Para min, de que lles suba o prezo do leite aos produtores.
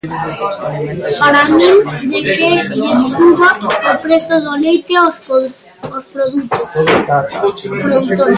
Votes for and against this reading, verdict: 0, 2, rejected